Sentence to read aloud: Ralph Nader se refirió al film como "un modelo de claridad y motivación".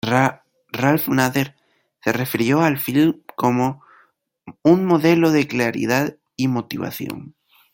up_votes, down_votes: 0, 2